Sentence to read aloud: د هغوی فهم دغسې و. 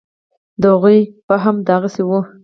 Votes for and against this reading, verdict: 2, 2, rejected